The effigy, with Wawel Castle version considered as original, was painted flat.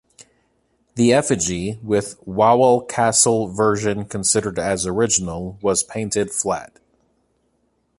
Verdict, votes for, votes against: accepted, 2, 0